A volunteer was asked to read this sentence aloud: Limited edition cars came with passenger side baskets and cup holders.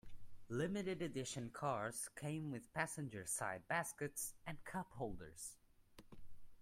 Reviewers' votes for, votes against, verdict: 2, 1, accepted